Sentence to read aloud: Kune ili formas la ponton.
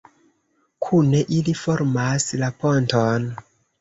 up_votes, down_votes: 2, 0